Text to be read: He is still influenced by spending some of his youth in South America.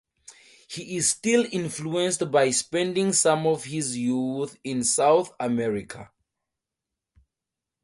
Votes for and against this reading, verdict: 2, 0, accepted